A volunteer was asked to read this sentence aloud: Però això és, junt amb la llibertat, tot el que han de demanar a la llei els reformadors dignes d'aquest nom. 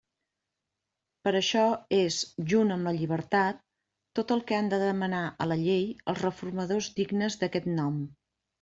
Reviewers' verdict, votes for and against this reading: accepted, 2, 0